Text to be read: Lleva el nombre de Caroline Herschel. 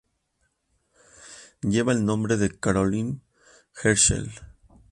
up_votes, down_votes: 2, 0